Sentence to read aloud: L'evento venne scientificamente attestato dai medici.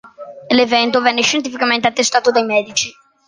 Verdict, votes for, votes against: accepted, 2, 0